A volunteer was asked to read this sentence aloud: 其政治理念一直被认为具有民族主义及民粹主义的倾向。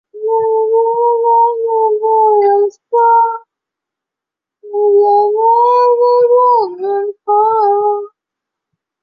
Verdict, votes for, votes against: rejected, 0, 3